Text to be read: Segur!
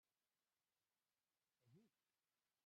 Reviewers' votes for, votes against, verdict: 0, 2, rejected